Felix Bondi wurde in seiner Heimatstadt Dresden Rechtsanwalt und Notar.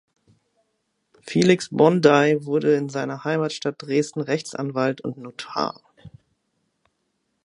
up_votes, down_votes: 0, 2